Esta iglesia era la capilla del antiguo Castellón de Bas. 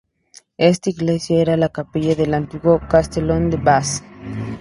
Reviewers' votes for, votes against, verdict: 0, 2, rejected